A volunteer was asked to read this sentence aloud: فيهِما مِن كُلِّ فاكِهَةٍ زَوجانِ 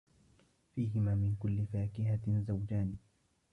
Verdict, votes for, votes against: rejected, 0, 2